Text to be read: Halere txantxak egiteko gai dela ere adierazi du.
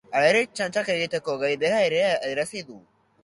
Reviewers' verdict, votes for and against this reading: rejected, 1, 2